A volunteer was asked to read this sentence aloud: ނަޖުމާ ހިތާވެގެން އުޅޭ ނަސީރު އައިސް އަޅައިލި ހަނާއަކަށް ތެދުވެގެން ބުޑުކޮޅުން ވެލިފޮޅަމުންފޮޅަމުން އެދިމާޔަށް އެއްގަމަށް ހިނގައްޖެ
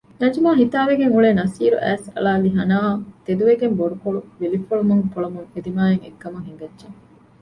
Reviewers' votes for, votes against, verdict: 0, 2, rejected